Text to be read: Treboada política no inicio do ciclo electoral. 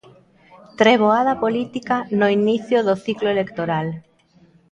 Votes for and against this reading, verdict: 2, 0, accepted